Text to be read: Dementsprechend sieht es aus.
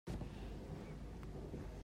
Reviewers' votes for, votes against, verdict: 0, 2, rejected